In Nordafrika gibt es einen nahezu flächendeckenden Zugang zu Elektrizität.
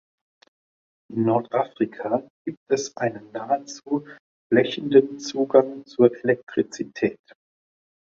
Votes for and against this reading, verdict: 0, 2, rejected